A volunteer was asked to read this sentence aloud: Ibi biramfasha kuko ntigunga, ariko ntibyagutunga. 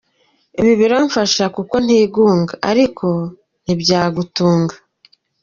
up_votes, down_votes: 0, 2